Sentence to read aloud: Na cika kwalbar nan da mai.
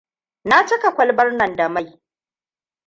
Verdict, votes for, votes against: rejected, 1, 2